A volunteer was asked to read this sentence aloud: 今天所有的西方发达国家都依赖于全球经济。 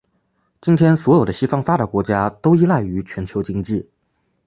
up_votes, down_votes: 3, 2